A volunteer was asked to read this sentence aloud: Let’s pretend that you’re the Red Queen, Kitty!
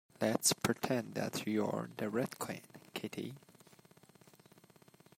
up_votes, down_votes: 2, 0